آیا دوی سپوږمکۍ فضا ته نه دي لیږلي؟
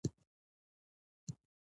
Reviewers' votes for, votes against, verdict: 1, 2, rejected